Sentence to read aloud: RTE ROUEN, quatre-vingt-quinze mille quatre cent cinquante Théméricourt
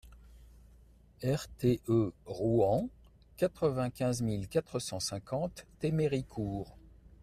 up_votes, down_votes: 2, 0